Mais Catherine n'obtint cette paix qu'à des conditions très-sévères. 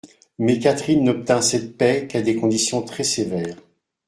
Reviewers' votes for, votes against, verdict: 2, 0, accepted